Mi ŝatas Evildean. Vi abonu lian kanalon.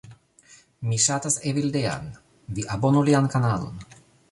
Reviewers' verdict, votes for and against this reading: accepted, 2, 1